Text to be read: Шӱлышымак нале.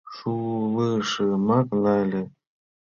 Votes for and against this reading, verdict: 0, 2, rejected